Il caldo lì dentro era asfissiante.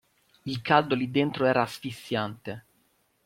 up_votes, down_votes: 2, 0